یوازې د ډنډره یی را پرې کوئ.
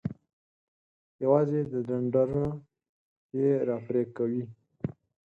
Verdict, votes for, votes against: rejected, 2, 4